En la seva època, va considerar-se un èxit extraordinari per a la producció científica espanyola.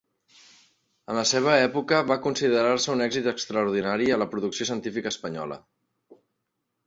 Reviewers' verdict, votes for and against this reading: rejected, 1, 2